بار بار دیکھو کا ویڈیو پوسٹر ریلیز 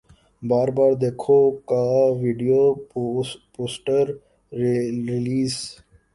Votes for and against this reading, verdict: 1, 3, rejected